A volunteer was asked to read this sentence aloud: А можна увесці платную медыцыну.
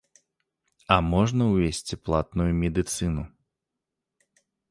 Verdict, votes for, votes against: accepted, 3, 0